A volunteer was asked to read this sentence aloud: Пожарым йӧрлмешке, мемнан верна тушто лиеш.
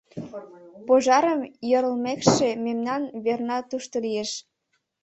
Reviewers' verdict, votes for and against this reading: accepted, 2, 0